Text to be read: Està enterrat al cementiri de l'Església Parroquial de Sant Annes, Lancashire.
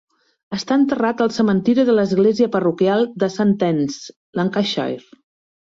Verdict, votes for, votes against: accepted, 2, 0